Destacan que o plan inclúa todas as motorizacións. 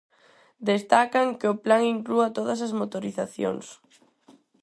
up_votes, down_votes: 4, 0